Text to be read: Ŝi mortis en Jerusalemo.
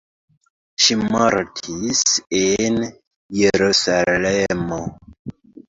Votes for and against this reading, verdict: 1, 2, rejected